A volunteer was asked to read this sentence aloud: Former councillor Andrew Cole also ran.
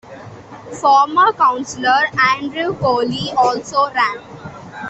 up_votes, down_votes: 0, 2